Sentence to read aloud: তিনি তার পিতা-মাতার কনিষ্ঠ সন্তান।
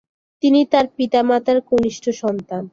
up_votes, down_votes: 14, 1